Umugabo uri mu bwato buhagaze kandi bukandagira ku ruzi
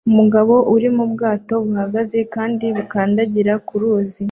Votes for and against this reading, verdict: 2, 0, accepted